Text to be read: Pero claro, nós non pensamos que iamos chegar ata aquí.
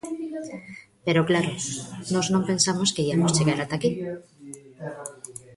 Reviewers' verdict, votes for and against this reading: rejected, 1, 2